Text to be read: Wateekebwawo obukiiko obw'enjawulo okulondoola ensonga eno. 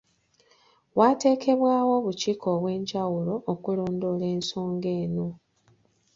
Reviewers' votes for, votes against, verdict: 1, 2, rejected